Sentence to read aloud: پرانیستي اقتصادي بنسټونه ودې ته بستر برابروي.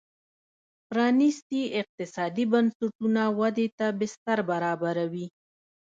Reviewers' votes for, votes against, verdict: 2, 1, accepted